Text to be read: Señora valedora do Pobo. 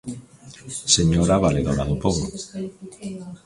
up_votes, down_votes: 1, 2